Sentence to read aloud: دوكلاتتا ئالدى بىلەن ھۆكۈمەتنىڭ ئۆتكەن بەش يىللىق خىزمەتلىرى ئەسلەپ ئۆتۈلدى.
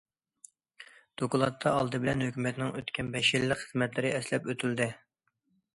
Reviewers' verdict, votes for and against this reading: accepted, 2, 0